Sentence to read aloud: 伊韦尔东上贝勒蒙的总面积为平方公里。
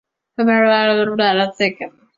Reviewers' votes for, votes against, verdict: 0, 2, rejected